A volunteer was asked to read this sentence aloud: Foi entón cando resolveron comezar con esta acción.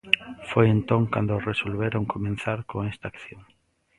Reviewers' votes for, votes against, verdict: 0, 2, rejected